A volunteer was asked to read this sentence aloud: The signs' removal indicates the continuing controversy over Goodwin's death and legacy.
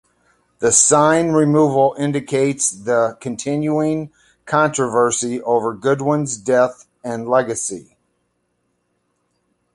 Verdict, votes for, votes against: rejected, 1, 2